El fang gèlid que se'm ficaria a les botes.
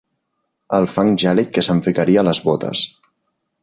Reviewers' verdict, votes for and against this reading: accepted, 2, 0